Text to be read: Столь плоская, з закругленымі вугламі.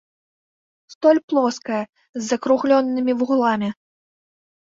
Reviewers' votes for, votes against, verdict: 2, 3, rejected